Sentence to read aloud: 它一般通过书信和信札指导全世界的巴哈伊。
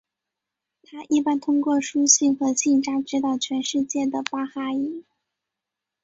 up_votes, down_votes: 4, 0